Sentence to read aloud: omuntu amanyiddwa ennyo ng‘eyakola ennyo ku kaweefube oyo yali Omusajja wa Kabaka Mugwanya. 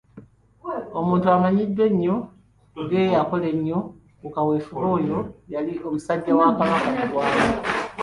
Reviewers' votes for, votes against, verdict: 0, 2, rejected